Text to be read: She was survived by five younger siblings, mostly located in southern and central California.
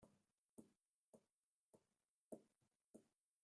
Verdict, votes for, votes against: rejected, 0, 2